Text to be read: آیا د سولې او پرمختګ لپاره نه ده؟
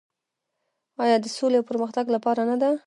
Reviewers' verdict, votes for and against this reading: rejected, 1, 2